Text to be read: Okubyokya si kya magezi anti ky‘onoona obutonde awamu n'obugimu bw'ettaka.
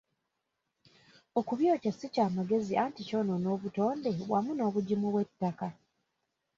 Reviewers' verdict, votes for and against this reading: rejected, 0, 2